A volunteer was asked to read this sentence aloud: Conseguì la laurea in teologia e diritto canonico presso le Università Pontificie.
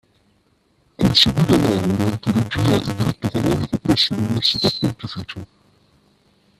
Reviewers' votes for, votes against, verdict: 0, 2, rejected